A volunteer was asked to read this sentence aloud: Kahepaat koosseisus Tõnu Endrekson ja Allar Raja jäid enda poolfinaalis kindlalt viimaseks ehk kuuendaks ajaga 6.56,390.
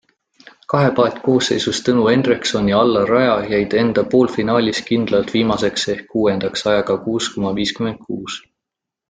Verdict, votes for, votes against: rejected, 0, 2